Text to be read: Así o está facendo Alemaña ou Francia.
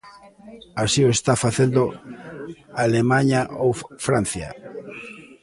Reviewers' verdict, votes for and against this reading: rejected, 0, 2